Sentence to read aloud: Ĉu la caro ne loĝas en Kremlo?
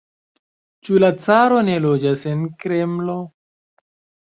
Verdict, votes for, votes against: rejected, 1, 2